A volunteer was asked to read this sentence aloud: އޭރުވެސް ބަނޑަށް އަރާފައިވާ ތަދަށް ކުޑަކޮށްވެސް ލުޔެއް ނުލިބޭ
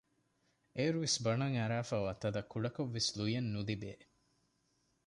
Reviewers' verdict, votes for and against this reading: accepted, 2, 0